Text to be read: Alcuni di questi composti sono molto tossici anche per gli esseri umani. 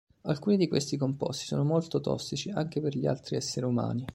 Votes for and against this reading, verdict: 2, 3, rejected